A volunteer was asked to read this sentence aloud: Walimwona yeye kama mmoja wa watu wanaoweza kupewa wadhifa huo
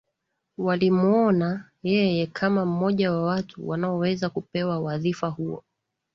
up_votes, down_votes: 2, 0